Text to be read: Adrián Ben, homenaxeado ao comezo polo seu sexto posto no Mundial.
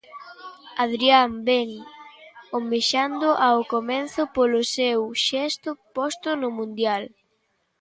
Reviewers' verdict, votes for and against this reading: rejected, 0, 2